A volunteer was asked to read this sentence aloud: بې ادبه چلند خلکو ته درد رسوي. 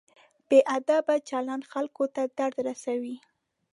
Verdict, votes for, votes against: accepted, 2, 0